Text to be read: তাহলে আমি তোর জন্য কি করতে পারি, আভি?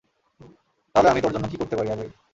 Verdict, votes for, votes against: accepted, 2, 0